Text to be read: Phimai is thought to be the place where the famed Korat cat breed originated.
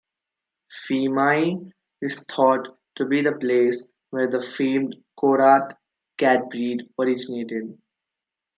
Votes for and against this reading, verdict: 1, 2, rejected